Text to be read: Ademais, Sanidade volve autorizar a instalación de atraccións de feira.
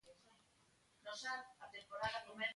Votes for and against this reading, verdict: 0, 2, rejected